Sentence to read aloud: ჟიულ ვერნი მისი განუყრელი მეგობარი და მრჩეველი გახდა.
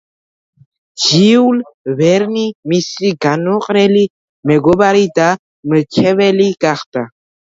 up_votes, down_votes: 1, 2